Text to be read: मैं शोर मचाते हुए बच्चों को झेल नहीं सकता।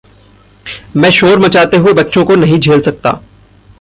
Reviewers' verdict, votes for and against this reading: rejected, 0, 2